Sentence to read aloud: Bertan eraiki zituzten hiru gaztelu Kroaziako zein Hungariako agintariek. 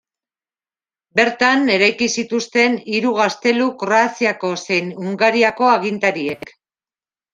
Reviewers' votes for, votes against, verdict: 1, 2, rejected